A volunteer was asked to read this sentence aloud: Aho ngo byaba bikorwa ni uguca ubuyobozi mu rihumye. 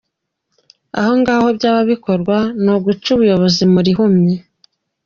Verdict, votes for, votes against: accepted, 2, 0